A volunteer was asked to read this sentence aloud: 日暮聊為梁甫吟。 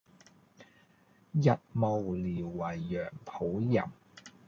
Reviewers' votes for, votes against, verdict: 0, 2, rejected